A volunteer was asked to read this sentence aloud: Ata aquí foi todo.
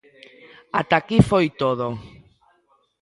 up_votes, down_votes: 1, 2